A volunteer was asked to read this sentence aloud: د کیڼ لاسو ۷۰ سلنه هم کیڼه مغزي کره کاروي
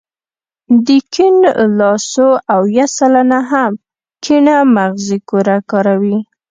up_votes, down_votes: 0, 2